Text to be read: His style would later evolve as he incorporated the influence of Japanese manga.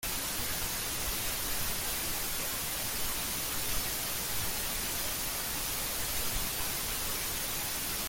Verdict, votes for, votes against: rejected, 0, 2